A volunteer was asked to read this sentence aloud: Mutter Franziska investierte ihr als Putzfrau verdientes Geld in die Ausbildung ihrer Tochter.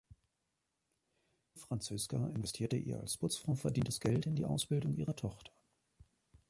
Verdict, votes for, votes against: rejected, 0, 2